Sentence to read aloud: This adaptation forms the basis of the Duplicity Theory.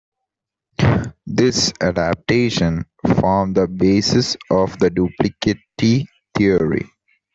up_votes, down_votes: 1, 3